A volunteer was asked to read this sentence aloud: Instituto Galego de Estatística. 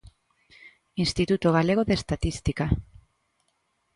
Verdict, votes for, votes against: accepted, 2, 0